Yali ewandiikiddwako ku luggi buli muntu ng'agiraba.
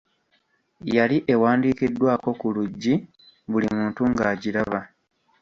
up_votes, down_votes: 2, 1